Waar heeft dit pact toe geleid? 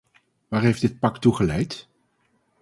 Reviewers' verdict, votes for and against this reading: accepted, 4, 0